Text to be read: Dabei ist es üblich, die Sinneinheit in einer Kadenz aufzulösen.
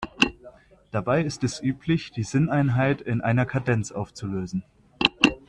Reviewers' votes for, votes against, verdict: 2, 1, accepted